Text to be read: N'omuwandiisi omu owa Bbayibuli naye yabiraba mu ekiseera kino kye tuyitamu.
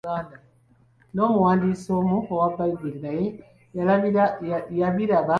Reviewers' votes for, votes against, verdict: 1, 2, rejected